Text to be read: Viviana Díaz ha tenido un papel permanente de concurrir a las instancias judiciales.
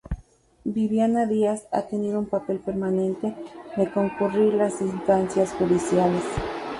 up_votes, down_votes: 2, 0